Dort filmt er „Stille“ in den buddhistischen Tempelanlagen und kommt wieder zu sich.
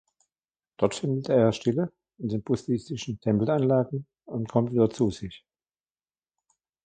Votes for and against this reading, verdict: 2, 0, accepted